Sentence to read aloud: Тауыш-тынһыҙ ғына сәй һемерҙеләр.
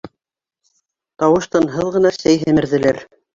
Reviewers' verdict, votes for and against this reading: accepted, 2, 0